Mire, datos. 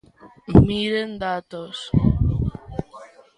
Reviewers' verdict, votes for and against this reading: rejected, 1, 2